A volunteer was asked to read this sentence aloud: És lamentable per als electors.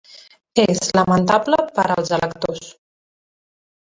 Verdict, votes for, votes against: rejected, 0, 2